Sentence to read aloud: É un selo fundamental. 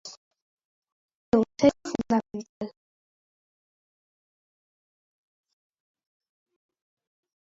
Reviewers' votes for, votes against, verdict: 0, 3, rejected